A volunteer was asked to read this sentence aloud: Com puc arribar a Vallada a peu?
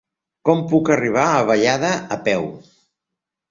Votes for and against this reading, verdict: 3, 1, accepted